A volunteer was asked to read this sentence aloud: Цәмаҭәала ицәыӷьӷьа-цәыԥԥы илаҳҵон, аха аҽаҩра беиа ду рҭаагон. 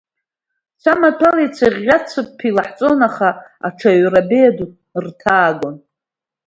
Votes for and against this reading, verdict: 0, 2, rejected